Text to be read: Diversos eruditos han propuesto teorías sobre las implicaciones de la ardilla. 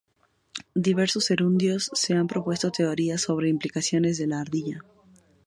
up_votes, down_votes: 2, 4